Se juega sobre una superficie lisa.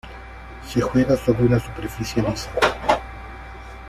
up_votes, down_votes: 1, 2